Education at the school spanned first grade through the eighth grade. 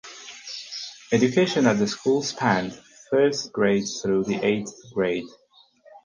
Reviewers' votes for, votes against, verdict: 4, 0, accepted